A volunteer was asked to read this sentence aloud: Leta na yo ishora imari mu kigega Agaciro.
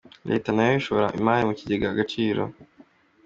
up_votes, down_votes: 2, 1